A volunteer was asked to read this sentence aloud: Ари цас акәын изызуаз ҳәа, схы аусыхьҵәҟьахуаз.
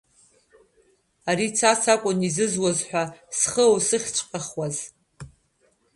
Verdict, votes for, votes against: rejected, 0, 2